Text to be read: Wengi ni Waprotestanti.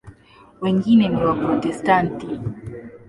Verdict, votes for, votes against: rejected, 1, 2